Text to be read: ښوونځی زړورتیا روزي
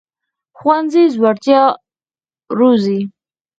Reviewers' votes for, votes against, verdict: 2, 4, rejected